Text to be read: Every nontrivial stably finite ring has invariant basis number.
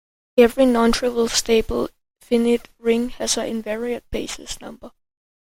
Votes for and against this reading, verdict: 0, 2, rejected